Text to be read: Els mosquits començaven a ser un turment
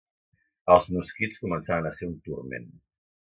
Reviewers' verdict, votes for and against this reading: accepted, 2, 0